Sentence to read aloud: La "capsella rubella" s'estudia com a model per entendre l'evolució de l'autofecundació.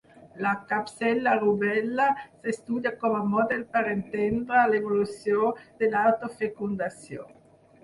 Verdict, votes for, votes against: rejected, 2, 4